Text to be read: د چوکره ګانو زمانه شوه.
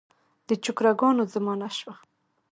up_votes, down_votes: 1, 2